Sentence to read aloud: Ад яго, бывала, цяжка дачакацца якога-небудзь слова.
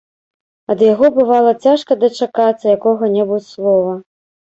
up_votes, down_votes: 0, 2